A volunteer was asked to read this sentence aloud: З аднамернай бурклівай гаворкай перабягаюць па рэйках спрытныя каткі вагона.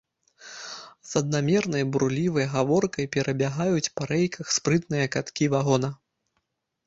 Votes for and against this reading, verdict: 0, 2, rejected